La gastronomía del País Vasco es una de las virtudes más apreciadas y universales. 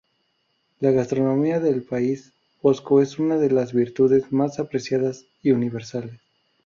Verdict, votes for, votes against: rejected, 0, 2